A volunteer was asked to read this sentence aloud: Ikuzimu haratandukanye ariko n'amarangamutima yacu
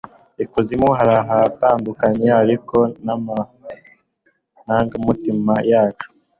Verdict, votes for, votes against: accepted, 2, 0